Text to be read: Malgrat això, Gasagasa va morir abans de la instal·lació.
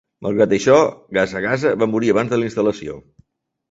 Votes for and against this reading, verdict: 2, 0, accepted